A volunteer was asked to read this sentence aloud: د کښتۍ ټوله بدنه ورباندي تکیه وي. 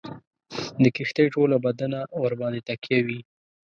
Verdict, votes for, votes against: rejected, 1, 2